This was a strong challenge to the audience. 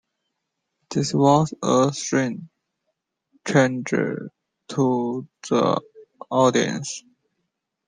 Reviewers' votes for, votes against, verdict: 0, 2, rejected